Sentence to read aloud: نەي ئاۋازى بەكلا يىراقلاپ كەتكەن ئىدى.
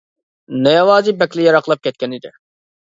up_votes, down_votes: 0, 2